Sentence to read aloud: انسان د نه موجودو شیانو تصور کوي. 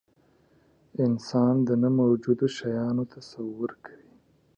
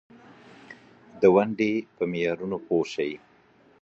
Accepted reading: first